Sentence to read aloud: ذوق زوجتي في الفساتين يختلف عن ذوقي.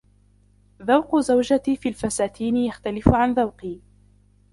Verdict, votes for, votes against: rejected, 1, 2